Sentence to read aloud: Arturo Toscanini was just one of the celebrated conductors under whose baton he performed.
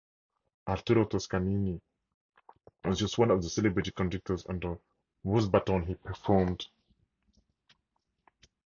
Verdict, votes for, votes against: accepted, 4, 0